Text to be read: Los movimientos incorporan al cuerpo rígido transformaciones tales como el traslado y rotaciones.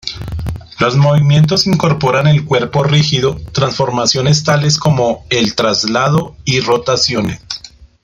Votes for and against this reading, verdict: 1, 2, rejected